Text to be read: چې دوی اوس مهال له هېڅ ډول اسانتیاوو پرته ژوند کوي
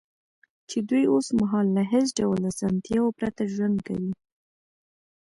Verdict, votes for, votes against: accepted, 2, 1